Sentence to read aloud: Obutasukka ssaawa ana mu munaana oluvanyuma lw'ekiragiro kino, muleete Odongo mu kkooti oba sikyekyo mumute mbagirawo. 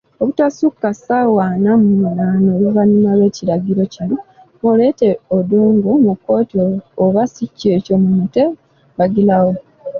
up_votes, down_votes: 1, 2